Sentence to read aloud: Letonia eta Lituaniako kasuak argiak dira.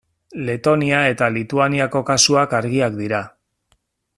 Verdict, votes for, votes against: accepted, 2, 0